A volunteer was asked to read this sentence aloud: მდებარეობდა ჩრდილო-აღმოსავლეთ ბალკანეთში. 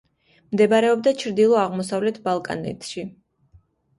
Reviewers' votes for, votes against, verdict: 2, 0, accepted